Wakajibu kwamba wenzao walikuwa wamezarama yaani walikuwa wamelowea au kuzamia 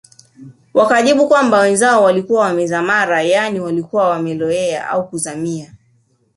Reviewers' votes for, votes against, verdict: 2, 1, accepted